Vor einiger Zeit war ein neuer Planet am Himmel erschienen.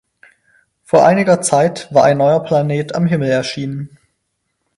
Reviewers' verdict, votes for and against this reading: rejected, 0, 4